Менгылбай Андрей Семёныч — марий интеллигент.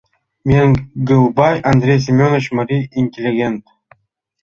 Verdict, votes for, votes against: accepted, 2, 0